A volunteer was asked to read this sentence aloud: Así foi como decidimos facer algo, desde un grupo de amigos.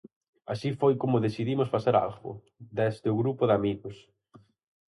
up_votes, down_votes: 2, 2